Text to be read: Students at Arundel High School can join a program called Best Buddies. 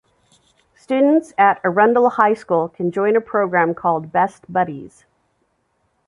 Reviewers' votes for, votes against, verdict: 2, 0, accepted